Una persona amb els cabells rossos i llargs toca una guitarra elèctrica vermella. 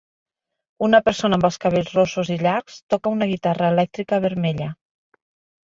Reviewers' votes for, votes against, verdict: 3, 0, accepted